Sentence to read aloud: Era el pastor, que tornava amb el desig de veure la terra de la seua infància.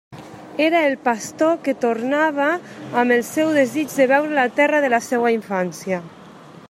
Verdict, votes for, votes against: rejected, 0, 2